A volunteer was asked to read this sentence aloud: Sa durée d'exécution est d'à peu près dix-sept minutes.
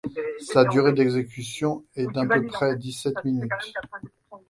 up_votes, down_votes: 1, 2